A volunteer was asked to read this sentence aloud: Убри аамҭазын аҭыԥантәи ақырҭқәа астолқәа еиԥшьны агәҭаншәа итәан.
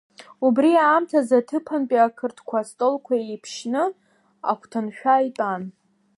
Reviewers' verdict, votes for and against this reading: accepted, 2, 0